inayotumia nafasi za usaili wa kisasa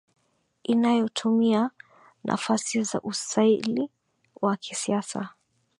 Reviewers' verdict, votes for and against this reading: accepted, 3, 2